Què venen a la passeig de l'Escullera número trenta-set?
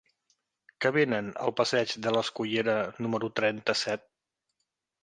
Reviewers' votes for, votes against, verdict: 2, 1, accepted